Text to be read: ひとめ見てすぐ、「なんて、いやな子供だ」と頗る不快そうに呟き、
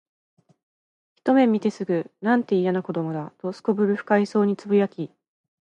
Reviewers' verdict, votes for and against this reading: accepted, 2, 0